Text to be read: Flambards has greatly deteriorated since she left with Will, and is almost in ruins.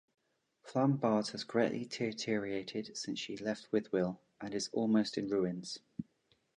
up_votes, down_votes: 1, 2